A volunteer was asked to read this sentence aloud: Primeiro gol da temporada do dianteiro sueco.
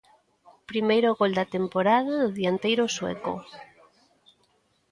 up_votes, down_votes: 17, 2